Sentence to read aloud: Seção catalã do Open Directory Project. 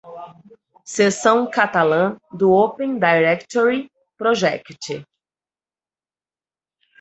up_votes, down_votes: 2, 4